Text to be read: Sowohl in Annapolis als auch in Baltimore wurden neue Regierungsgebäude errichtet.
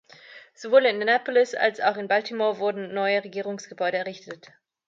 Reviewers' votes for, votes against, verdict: 1, 2, rejected